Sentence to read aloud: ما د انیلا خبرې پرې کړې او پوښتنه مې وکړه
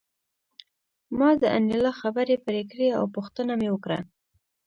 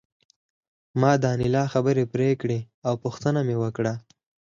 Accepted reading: first